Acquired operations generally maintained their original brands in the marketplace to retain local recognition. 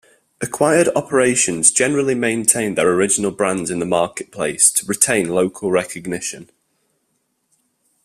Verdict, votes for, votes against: accepted, 2, 0